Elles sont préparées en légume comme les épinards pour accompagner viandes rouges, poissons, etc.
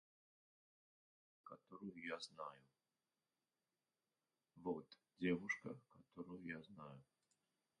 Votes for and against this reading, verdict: 0, 2, rejected